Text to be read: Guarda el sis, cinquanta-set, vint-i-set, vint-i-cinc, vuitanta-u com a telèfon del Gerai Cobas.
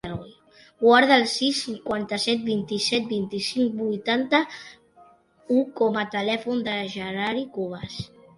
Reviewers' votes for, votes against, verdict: 1, 2, rejected